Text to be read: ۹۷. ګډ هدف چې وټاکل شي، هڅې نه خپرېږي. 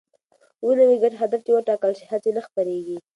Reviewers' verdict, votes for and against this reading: rejected, 0, 2